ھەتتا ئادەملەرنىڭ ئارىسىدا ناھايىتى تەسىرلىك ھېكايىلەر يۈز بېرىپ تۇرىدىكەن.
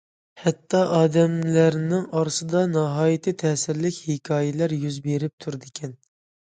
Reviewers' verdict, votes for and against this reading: accepted, 2, 0